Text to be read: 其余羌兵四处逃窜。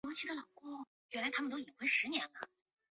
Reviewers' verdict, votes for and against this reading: rejected, 0, 4